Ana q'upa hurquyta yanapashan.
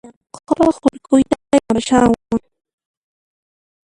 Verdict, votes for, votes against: rejected, 0, 2